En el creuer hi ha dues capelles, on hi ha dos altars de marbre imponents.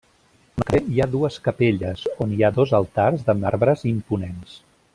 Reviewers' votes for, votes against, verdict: 0, 2, rejected